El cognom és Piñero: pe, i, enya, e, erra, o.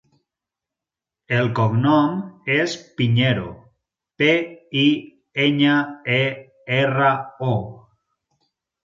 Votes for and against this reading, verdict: 4, 0, accepted